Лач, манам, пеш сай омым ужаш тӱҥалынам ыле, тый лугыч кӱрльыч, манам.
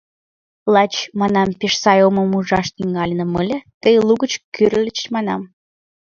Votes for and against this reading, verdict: 1, 2, rejected